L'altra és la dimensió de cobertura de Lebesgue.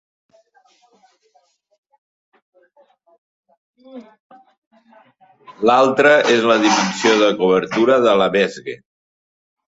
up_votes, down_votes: 1, 2